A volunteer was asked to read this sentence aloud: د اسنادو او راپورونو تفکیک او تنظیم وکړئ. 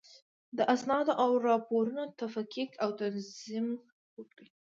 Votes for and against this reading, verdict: 2, 0, accepted